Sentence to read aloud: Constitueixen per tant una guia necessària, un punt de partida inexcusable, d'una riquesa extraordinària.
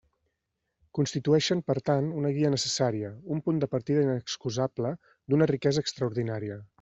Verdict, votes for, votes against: accepted, 3, 0